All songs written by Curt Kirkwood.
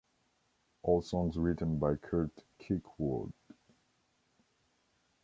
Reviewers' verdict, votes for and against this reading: accepted, 2, 1